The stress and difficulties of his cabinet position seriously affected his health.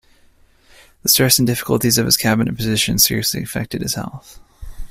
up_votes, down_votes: 2, 0